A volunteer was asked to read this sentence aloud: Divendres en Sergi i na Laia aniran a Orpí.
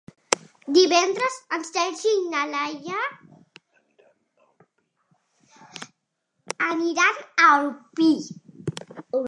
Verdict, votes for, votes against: rejected, 0, 2